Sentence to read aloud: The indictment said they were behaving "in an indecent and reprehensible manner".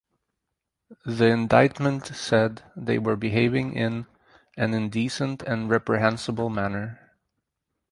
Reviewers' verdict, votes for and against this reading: rejected, 0, 2